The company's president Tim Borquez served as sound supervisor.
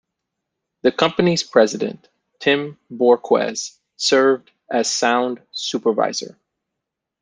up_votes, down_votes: 1, 2